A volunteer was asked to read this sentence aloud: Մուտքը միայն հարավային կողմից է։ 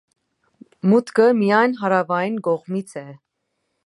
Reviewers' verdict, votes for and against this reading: accepted, 2, 0